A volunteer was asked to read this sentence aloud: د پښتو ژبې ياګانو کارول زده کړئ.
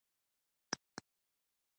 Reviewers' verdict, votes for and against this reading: rejected, 0, 2